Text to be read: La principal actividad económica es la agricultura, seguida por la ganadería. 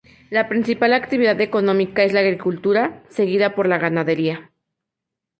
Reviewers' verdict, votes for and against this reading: accepted, 2, 0